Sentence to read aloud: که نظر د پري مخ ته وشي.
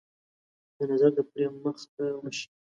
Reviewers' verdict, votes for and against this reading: accepted, 2, 0